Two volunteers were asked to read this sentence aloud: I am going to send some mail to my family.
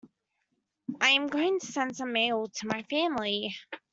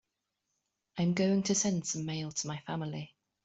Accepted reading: second